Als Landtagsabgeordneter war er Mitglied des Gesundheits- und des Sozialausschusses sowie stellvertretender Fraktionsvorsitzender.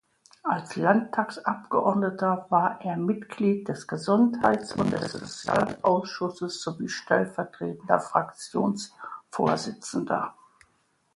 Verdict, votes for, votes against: accepted, 2, 0